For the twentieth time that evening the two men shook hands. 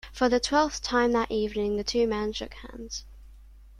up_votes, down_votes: 0, 2